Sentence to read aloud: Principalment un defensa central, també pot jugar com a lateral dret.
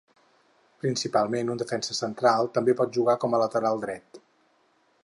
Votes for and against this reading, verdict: 4, 0, accepted